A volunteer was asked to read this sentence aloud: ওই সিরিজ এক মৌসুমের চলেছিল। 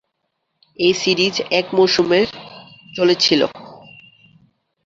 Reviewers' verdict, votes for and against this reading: rejected, 1, 2